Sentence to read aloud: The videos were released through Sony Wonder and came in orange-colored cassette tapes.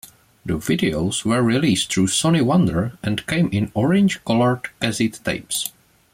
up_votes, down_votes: 2, 0